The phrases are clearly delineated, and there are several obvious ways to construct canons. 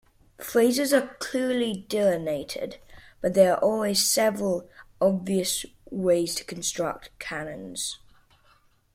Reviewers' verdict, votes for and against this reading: rejected, 0, 2